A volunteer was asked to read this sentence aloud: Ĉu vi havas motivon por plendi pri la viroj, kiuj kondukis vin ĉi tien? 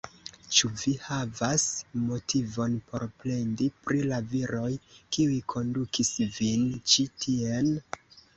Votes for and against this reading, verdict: 2, 0, accepted